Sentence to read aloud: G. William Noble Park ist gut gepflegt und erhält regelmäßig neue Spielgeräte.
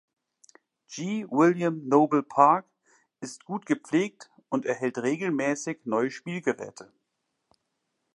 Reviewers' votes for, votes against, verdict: 2, 0, accepted